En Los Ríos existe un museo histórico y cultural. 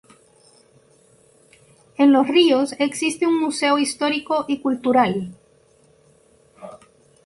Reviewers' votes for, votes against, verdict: 2, 0, accepted